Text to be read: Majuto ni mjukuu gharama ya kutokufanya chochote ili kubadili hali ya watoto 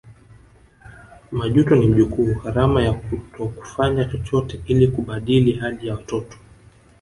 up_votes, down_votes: 2, 0